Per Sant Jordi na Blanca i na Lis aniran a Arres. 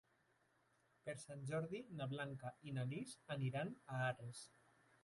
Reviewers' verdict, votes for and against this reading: rejected, 1, 2